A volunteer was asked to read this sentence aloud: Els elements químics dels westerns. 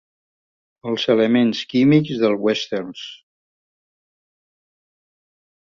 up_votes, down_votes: 3, 0